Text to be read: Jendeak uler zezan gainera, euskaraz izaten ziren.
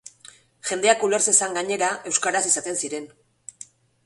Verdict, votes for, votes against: accepted, 3, 0